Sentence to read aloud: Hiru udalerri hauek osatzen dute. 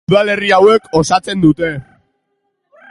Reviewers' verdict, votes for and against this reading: rejected, 0, 2